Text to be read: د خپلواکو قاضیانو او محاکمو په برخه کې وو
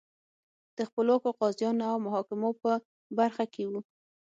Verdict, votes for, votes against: accepted, 6, 0